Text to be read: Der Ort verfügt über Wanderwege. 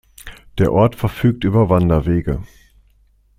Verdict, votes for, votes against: accepted, 2, 0